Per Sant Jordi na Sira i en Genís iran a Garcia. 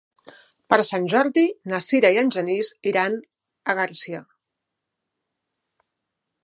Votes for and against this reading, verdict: 2, 0, accepted